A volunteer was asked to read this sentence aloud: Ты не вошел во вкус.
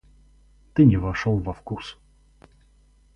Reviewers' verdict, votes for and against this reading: accepted, 2, 0